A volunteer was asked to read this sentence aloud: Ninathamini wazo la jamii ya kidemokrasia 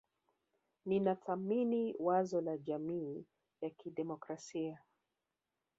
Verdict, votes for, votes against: rejected, 0, 2